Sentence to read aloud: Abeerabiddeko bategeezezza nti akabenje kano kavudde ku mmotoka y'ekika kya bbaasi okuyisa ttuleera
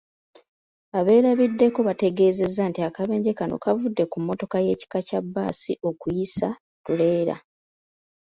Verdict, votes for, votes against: accepted, 2, 0